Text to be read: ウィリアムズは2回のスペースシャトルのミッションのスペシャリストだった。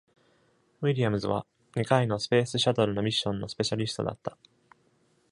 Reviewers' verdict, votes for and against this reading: rejected, 0, 2